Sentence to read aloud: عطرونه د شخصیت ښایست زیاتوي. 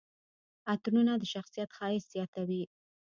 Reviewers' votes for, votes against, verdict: 0, 2, rejected